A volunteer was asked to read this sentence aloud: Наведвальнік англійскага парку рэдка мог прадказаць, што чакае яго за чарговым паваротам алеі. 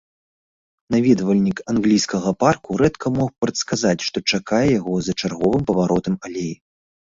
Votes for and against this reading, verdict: 1, 2, rejected